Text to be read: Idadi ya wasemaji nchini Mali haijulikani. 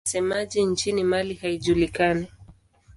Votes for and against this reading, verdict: 0, 2, rejected